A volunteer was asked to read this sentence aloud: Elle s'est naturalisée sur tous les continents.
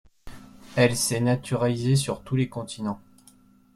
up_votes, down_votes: 2, 0